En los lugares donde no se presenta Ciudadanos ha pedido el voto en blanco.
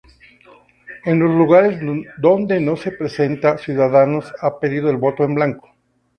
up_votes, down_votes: 0, 2